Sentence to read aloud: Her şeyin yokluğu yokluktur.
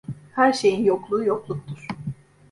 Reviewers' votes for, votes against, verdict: 1, 2, rejected